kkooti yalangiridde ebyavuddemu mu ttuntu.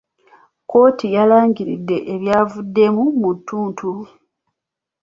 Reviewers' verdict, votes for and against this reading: accepted, 2, 0